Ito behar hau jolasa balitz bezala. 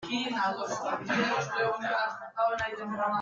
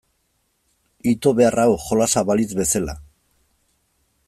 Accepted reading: second